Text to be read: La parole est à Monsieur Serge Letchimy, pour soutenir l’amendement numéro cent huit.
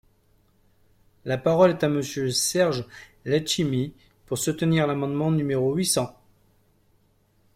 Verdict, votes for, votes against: rejected, 0, 2